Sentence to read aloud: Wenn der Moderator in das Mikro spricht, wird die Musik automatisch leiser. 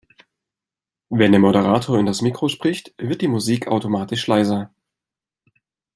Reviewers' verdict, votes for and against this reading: accepted, 2, 0